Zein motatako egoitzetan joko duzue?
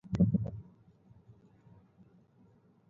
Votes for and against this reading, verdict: 0, 4, rejected